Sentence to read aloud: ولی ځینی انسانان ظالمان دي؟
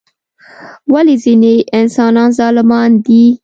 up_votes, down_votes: 2, 0